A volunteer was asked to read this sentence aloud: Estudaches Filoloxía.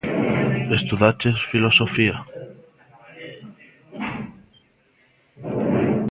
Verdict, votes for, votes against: rejected, 0, 2